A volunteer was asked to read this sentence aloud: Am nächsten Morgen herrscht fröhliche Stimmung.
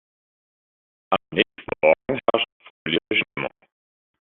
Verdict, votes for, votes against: rejected, 0, 2